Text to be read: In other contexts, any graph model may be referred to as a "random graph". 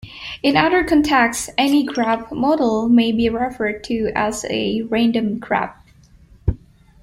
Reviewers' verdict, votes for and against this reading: rejected, 0, 2